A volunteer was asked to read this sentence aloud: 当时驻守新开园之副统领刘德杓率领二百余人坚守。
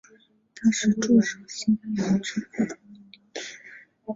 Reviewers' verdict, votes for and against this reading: rejected, 0, 4